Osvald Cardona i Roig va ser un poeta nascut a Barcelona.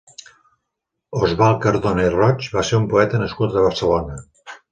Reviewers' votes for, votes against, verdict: 3, 0, accepted